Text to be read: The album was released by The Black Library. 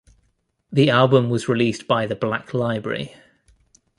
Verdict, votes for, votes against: accepted, 2, 1